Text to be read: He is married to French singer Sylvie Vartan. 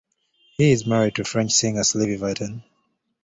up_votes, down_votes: 2, 0